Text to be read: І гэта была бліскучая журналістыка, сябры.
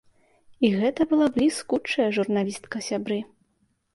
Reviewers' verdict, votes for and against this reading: rejected, 1, 2